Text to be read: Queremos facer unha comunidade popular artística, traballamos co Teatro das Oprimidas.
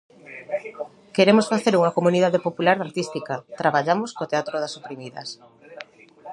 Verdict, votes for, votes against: rejected, 0, 2